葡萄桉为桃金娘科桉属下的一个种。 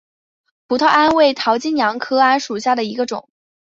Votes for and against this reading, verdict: 2, 0, accepted